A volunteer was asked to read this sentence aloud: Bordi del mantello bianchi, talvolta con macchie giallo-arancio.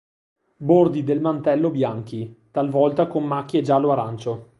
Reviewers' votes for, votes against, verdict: 2, 0, accepted